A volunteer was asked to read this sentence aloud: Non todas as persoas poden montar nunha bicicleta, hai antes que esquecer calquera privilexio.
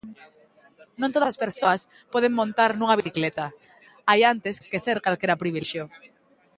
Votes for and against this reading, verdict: 0, 3, rejected